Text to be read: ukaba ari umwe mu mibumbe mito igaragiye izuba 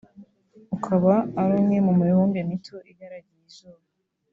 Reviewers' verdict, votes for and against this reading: accepted, 2, 0